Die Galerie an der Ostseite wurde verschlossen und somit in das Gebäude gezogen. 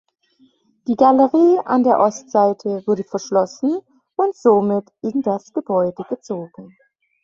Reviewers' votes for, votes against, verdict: 2, 0, accepted